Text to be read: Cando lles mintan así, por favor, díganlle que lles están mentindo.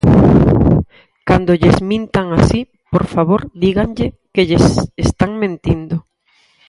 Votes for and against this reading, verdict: 2, 4, rejected